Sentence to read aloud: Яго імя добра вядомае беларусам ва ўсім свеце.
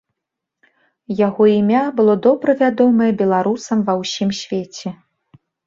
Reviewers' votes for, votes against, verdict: 0, 2, rejected